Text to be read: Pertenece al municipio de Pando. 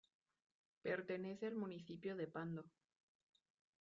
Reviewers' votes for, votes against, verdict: 1, 2, rejected